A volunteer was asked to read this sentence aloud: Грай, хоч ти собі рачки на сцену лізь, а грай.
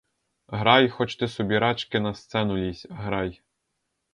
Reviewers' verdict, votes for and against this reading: rejected, 0, 4